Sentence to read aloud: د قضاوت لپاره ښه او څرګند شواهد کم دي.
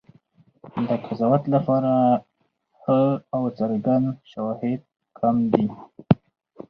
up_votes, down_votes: 4, 0